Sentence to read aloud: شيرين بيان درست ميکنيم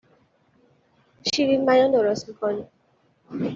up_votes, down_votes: 2, 0